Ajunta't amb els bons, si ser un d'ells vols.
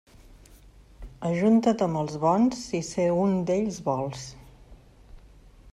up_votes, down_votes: 2, 0